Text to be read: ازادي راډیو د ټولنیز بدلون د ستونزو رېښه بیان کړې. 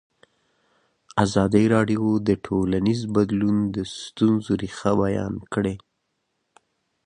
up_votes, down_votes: 2, 1